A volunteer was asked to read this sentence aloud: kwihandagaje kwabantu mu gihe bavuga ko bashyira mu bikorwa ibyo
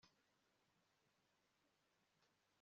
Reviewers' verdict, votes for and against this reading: rejected, 0, 2